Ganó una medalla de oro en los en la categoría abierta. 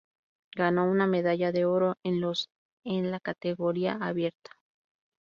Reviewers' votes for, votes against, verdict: 2, 0, accepted